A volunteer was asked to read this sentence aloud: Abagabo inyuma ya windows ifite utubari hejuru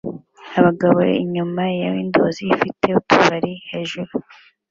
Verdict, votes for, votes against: accepted, 2, 0